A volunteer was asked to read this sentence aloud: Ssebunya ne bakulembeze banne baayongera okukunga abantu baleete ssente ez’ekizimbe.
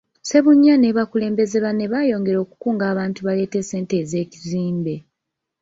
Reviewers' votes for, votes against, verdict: 3, 1, accepted